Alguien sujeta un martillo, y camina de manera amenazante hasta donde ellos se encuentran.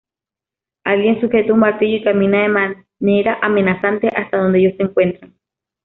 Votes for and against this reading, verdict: 2, 1, accepted